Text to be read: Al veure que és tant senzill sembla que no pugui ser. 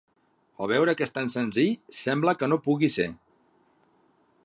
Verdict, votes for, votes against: accepted, 3, 0